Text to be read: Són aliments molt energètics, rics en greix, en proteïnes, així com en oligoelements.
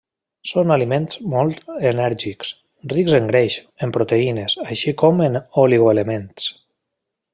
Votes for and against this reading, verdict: 0, 2, rejected